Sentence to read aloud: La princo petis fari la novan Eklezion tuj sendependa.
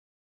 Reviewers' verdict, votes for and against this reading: rejected, 1, 2